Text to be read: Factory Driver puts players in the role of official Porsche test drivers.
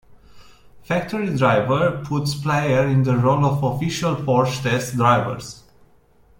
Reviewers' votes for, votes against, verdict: 1, 2, rejected